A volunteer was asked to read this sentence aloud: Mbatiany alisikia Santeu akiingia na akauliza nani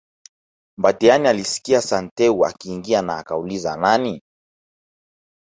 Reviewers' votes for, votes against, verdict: 1, 2, rejected